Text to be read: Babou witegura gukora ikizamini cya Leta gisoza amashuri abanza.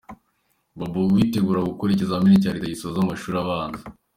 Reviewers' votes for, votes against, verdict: 2, 1, accepted